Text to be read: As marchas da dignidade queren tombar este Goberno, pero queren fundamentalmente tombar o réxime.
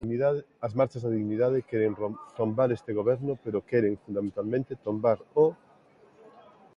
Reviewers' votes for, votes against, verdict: 0, 2, rejected